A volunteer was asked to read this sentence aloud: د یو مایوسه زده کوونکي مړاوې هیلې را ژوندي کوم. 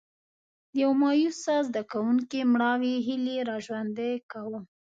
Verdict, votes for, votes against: accepted, 2, 1